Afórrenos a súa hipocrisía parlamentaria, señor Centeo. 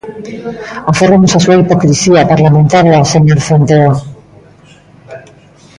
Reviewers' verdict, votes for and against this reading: rejected, 0, 2